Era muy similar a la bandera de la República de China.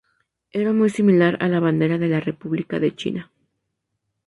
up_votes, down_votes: 4, 0